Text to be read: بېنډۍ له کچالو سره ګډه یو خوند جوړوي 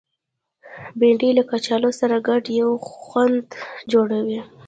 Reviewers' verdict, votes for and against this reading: rejected, 1, 2